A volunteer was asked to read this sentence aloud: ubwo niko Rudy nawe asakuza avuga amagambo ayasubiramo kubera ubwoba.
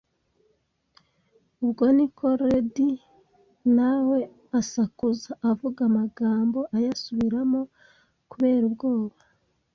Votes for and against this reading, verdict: 1, 2, rejected